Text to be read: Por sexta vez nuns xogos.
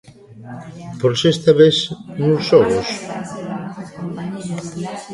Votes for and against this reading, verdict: 2, 0, accepted